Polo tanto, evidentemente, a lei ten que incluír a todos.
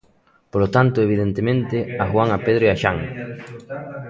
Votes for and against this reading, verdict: 0, 3, rejected